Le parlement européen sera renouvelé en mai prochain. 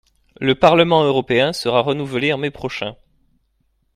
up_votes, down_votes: 2, 0